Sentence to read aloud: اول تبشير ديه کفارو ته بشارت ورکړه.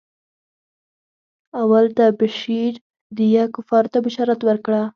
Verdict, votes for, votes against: rejected, 2, 4